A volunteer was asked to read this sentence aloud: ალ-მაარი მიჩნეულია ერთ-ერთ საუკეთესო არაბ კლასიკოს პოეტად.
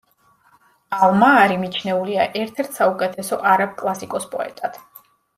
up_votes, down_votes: 2, 0